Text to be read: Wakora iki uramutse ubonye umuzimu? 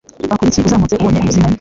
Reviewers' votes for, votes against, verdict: 0, 2, rejected